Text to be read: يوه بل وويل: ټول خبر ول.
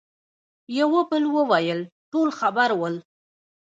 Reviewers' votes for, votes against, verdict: 1, 2, rejected